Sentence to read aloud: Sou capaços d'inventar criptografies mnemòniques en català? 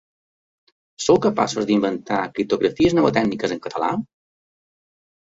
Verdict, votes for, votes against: rejected, 0, 2